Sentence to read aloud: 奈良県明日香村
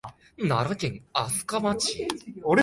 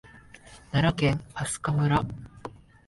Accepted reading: second